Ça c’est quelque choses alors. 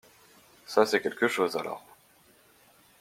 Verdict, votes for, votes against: accepted, 2, 0